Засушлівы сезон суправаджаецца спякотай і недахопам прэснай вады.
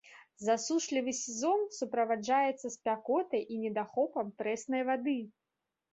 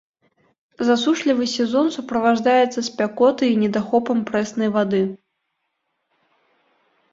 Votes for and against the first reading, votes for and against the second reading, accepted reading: 3, 0, 0, 2, first